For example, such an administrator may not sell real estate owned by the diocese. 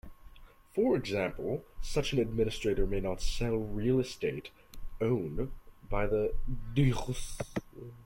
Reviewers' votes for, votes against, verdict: 1, 2, rejected